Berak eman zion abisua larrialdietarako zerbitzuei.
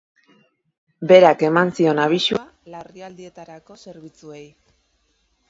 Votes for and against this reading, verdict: 1, 2, rejected